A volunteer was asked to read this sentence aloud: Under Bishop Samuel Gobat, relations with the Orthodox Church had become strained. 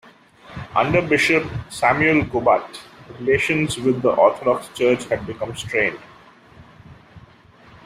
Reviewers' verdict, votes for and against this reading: accepted, 2, 0